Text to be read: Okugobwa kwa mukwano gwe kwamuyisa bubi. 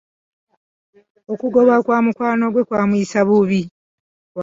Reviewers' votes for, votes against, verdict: 2, 1, accepted